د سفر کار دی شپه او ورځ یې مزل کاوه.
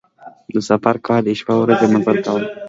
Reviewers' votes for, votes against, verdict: 2, 0, accepted